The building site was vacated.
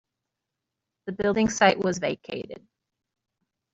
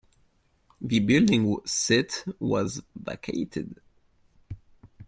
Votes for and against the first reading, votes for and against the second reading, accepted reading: 3, 0, 0, 2, first